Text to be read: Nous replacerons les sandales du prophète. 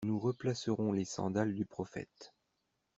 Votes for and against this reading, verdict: 2, 0, accepted